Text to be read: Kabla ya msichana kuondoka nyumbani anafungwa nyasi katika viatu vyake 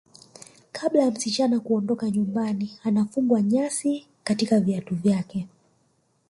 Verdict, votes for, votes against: rejected, 0, 2